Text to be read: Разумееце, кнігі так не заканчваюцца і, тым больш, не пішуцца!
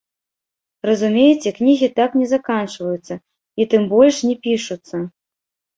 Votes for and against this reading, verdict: 1, 2, rejected